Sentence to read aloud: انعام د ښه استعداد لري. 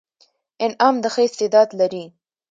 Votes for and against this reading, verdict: 2, 0, accepted